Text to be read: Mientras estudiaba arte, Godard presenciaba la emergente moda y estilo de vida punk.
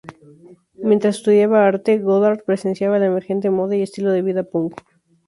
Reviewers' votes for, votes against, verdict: 0, 2, rejected